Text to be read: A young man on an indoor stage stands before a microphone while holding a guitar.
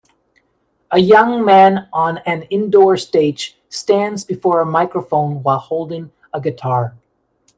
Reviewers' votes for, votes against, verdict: 2, 0, accepted